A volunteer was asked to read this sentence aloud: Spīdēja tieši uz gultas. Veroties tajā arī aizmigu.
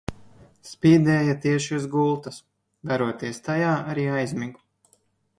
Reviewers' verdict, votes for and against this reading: accepted, 2, 0